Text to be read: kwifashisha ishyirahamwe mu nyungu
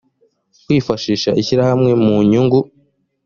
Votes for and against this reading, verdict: 2, 0, accepted